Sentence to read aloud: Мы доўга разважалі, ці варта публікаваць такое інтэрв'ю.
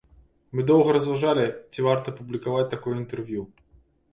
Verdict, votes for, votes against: accepted, 2, 0